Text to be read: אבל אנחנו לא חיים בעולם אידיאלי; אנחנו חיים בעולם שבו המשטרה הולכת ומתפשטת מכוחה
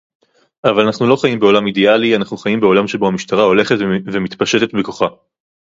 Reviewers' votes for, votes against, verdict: 2, 2, rejected